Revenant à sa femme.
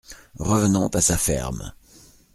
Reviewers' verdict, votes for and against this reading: rejected, 0, 2